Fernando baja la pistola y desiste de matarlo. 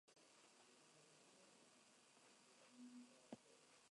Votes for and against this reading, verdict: 0, 2, rejected